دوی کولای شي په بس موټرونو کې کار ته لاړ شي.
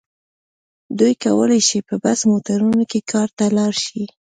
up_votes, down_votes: 2, 0